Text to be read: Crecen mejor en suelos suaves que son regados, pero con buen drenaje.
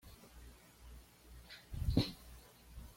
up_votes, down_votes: 1, 2